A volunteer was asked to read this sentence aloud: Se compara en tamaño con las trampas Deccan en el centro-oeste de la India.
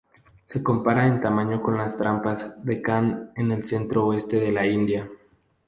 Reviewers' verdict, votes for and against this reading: accepted, 4, 0